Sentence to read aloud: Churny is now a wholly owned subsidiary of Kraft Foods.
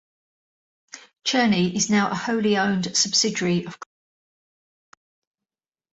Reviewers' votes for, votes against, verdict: 0, 2, rejected